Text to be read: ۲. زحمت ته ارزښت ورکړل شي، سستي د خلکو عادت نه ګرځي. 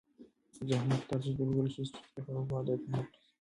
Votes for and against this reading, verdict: 0, 2, rejected